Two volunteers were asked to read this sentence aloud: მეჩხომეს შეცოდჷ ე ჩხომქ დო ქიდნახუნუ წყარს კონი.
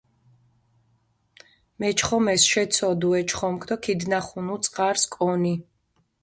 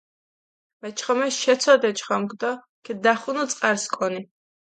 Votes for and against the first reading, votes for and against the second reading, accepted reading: 0, 3, 2, 0, second